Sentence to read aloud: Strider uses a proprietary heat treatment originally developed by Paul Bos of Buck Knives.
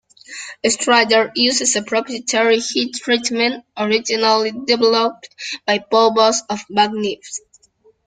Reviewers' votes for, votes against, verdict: 0, 2, rejected